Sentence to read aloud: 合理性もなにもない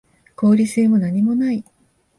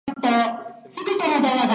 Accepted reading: first